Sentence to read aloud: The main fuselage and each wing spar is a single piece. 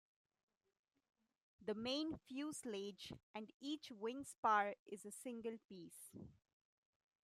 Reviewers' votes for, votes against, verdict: 1, 2, rejected